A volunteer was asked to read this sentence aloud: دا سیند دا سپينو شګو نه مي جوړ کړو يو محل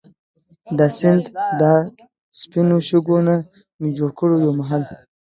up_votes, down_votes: 2, 0